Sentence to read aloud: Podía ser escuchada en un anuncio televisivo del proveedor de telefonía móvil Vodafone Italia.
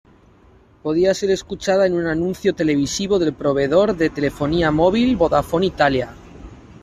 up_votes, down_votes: 2, 0